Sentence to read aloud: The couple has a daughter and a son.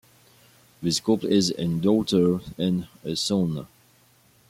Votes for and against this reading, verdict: 0, 2, rejected